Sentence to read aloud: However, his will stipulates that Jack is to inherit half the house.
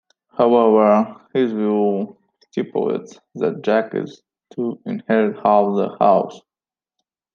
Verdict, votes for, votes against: rejected, 1, 2